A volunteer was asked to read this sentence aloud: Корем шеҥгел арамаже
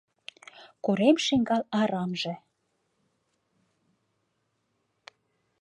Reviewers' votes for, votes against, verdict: 0, 2, rejected